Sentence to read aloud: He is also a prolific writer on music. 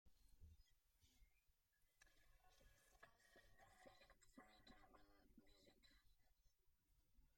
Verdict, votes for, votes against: rejected, 0, 2